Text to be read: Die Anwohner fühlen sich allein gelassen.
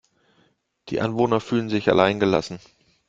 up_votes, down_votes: 2, 0